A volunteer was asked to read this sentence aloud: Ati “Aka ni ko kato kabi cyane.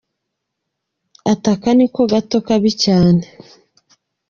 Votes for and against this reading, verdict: 0, 2, rejected